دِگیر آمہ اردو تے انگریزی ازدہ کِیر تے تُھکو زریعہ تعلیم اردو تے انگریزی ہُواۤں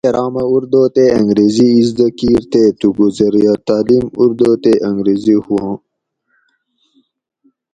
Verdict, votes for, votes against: rejected, 0, 2